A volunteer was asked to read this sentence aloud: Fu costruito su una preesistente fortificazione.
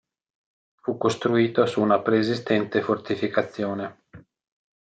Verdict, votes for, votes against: accepted, 2, 0